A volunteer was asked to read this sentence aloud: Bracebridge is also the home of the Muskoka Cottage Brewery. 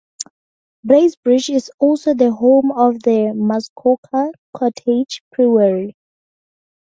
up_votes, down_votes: 4, 2